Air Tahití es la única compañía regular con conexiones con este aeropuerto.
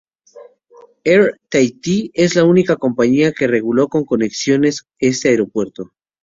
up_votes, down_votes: 0, 2